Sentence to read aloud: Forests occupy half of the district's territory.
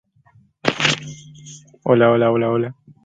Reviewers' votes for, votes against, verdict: 0, 2, rejected